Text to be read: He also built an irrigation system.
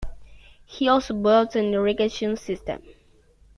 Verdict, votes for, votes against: accepted, 3, 2